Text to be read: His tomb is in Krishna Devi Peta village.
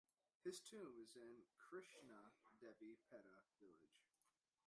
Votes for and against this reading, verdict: 1, 2, rejected